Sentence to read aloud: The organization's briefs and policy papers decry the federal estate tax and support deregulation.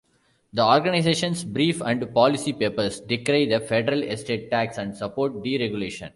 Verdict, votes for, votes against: rejected, 0, 2